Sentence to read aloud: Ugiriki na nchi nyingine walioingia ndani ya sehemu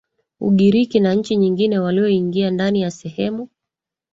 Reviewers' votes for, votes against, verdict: 2, 1, accepted